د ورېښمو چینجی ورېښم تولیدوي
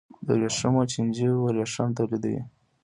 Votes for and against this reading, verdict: 2, 0, accepted